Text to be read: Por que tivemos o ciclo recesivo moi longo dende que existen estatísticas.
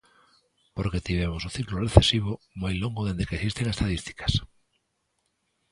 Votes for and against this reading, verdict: 0, 2, rejected